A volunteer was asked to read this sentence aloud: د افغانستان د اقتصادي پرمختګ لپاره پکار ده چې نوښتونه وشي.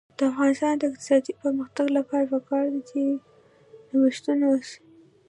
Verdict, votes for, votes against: rejected, 1, 2